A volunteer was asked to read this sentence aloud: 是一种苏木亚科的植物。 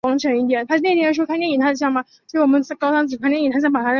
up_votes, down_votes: 0, 2